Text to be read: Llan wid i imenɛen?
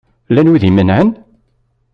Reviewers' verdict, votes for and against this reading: accepted, 2, 0